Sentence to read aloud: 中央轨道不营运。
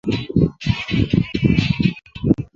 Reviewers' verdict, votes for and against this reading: rejected, 0, 2